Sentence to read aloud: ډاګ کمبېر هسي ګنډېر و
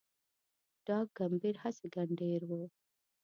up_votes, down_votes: 2, 0